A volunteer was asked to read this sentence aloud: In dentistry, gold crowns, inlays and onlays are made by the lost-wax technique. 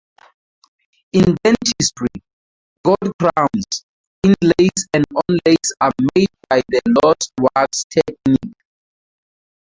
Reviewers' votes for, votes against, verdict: 0, 2, rejected